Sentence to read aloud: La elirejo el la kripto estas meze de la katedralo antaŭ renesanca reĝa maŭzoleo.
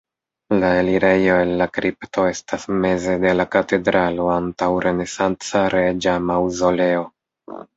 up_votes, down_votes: 1, 2